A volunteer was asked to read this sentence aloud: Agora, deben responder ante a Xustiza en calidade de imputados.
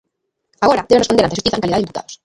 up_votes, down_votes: 0, 2